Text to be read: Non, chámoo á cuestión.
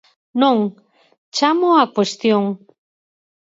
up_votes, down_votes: 4, 0